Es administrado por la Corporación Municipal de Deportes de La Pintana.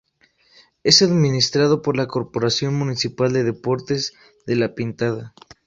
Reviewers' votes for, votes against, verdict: 0, 2, rejected